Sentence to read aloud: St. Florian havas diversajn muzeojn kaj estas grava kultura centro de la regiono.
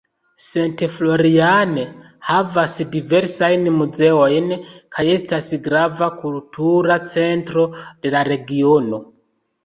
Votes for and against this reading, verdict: 0, 2, rejected